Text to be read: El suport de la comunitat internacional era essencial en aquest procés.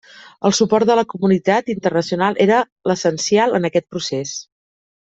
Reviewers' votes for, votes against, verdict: 1, 2, rejected